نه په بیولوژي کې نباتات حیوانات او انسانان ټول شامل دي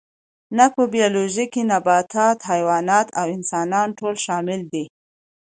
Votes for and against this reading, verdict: 2, 0, accepted